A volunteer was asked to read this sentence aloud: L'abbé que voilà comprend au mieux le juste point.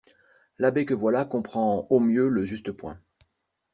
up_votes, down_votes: 2, 0